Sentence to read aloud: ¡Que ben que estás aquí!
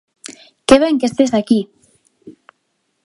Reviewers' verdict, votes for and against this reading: rejected, 0, 2